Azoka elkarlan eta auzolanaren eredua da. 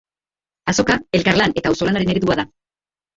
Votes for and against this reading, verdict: 0, 2, rejected